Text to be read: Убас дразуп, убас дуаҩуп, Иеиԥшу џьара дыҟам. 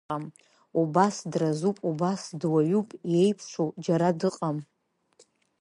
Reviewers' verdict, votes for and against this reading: accepted, 3, 0